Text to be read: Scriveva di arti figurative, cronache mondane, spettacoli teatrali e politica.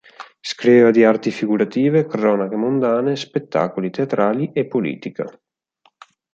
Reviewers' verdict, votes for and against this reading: accepted, 4, 0